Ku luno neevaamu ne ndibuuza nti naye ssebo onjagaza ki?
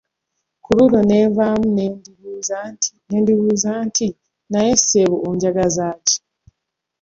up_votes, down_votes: 0, 2